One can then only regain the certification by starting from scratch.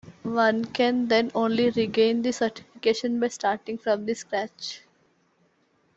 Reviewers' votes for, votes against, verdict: 2, 3, rejected